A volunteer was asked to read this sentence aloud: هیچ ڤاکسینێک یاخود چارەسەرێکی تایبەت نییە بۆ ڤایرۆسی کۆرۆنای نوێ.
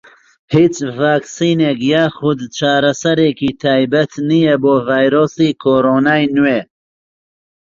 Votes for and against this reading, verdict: 2, 0, accepted